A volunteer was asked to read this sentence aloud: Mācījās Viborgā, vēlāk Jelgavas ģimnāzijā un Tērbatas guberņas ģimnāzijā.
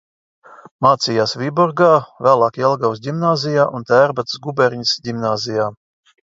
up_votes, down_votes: 2, 0